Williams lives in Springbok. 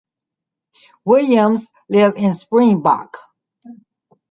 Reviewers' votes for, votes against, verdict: 2, 0, accepted